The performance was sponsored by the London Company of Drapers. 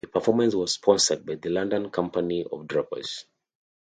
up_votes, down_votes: 2, 0